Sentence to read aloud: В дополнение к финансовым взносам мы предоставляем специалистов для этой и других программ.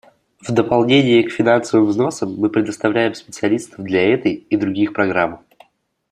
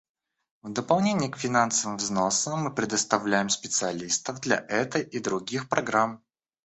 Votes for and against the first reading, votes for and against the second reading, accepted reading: 2, 0, 1, 2, first